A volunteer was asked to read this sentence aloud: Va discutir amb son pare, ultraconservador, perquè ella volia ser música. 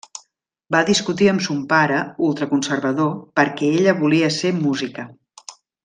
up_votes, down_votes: 3, 0